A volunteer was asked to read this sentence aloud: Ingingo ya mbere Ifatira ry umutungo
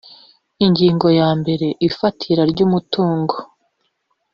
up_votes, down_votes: 1, 2